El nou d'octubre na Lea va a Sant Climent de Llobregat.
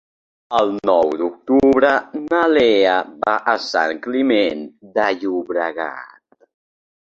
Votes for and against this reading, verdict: 1, 2, rejected